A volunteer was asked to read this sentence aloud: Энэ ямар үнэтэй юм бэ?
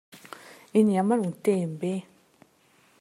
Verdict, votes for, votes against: accepted, 2, 1